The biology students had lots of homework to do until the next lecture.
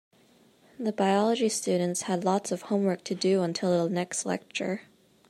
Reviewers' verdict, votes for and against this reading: accepted, 2, 0